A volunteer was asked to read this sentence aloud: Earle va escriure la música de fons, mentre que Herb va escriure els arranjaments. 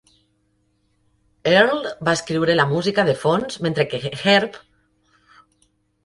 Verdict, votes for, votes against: rejected, 0, 2